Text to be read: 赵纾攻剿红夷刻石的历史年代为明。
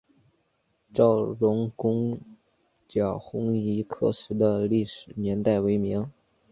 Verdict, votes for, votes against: rejected, 1, 2